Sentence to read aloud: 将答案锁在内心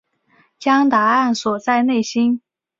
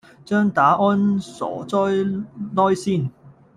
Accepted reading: first